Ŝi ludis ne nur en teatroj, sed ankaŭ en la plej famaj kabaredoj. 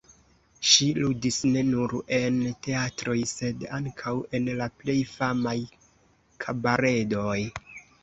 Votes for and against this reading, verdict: 3, 0, accepted